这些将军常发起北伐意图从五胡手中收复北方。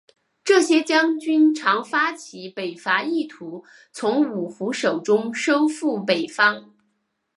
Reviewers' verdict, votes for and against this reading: accepted, 4, 0